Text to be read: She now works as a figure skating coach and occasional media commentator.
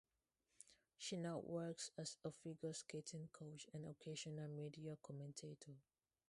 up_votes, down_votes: 2, 2